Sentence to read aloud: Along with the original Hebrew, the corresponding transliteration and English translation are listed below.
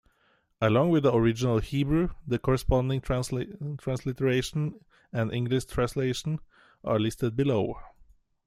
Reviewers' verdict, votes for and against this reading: rejected, 0, 2